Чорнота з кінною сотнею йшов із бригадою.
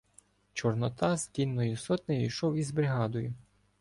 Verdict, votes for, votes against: rejected, 0, 2